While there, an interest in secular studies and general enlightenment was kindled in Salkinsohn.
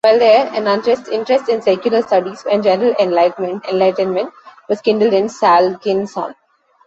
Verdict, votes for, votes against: rejected, 0, 2